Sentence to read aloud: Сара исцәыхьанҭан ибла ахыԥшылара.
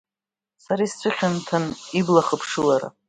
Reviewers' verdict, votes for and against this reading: rejected, 0, 2